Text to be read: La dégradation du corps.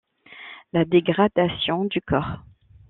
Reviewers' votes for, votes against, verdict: 2, 0, accepted